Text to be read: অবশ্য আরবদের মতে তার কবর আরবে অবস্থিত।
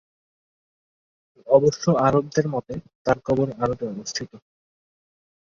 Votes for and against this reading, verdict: 1, 2, rejected